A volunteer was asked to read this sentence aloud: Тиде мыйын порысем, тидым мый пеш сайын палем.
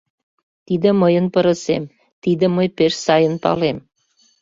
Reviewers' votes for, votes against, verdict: 0, 2, rejected